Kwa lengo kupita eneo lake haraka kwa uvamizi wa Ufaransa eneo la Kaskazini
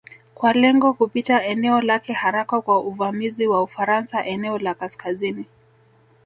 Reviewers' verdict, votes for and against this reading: rejected, 1, 2